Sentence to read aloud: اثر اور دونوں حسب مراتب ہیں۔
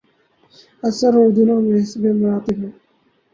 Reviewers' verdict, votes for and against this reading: accepted, 4, 0